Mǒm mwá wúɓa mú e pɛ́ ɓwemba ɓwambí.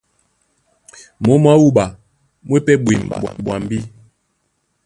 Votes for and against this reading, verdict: 1, 2, rejected